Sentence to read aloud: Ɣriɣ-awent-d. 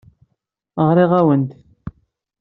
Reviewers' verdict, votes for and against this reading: rejected, 0, 2